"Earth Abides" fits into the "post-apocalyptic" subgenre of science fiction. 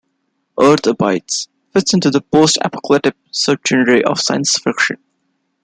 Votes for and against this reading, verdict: 2, 0, accepted